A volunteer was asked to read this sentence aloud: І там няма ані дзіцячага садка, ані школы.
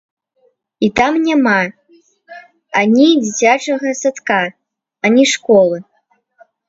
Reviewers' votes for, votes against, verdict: 0, 2, rejected